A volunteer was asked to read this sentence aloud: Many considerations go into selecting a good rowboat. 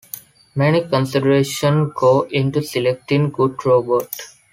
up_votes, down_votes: 3, 2